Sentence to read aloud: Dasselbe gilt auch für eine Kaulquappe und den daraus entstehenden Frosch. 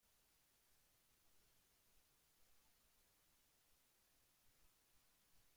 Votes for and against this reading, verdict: 0, 2, rejected